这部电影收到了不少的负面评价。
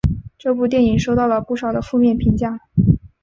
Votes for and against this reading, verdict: 2, 3, rejected